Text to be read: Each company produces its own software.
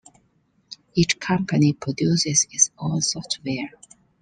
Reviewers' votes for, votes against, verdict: 2, 0, accepted